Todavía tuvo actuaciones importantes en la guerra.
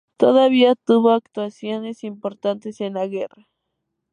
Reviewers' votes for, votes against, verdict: 2, 0, accepted